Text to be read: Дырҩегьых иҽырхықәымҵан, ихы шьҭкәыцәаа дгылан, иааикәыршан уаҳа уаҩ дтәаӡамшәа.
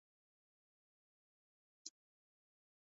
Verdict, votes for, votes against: accepted, 2, 1